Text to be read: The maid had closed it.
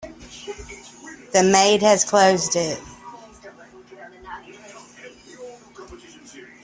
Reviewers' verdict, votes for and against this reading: rejected, 1, 2